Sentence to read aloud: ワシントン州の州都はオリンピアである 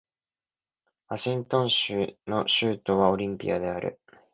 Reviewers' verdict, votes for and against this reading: accepted, 2, 0